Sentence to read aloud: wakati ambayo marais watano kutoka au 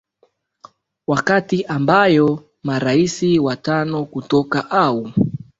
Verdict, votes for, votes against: accepted, 3, 0